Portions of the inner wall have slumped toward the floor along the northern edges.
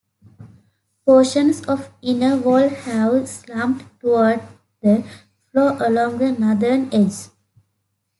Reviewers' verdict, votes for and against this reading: rejected, 1, 2